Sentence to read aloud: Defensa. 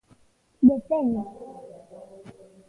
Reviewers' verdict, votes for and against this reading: rejected, 0, 2